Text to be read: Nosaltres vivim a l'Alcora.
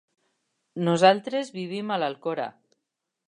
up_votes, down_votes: 3, 0